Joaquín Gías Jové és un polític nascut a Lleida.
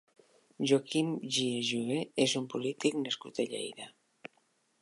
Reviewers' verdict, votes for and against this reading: accepted, 3, 0